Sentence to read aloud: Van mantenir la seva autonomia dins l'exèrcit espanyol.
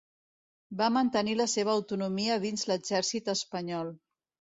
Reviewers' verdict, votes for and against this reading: rejected, 1, 2